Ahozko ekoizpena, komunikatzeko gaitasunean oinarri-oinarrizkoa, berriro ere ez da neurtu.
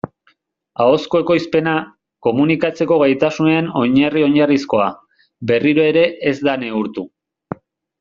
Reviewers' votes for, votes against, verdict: 2, 0, accepted